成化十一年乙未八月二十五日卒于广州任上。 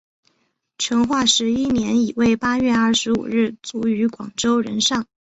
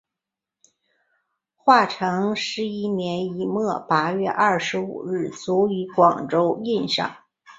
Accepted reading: first